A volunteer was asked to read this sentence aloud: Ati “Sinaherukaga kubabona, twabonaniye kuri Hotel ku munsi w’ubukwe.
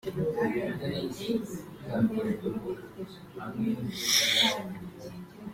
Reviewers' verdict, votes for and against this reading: rejected, 0, 2